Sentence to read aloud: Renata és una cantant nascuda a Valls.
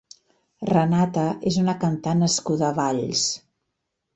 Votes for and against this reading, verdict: 2, 0, accepted